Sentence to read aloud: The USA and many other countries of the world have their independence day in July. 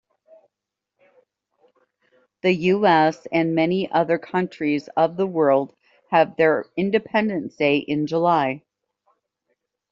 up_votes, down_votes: 0, 2